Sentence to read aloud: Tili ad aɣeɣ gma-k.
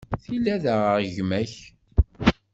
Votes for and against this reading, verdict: 2, 0, accepted